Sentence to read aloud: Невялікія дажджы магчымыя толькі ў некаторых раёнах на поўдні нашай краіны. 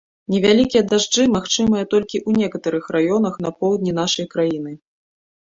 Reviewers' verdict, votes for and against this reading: rejected, 0, 2